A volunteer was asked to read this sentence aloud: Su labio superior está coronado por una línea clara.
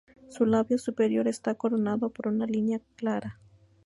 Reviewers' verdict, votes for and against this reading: rejected, 0, 2